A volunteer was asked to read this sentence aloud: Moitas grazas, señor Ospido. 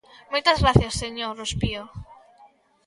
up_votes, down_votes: 0, 2